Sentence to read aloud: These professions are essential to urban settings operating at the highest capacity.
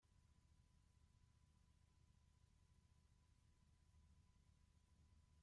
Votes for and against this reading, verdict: 0, 2, rejected